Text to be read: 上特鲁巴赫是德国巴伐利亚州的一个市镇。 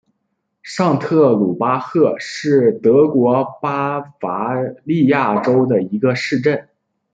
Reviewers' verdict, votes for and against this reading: rejected, 0, 2